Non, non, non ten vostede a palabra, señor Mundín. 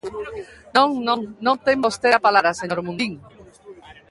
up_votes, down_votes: 1, 2